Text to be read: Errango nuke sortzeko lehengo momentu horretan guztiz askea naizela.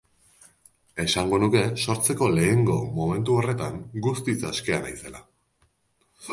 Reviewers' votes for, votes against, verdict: 1, 2, rejected